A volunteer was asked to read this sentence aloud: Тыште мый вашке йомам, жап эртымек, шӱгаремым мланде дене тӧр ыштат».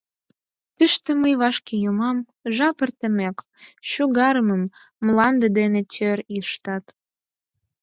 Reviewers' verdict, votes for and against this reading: rejected, 2, 4